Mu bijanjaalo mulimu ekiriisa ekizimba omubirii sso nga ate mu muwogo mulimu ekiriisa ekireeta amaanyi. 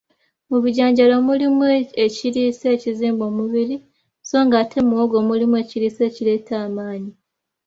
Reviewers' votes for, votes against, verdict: 2, 0, accepted